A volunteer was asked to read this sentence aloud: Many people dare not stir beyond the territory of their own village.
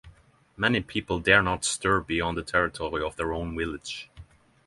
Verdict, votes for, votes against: accepted, 3, 0